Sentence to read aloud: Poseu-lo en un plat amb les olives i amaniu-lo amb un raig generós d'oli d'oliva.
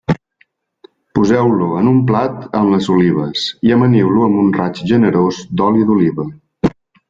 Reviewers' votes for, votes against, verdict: 4, 0, accepted